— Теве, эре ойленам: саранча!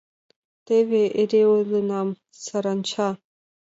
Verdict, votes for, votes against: accepted, 2, 0